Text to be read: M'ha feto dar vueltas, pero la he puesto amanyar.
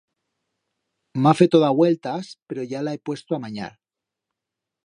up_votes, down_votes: 1, 2